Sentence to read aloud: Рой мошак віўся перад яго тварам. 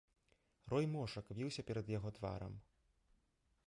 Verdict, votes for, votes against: accepted, 2, 0